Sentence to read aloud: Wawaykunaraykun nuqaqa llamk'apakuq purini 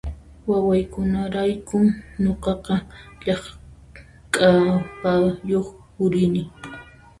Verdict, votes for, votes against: rejected, 0, 2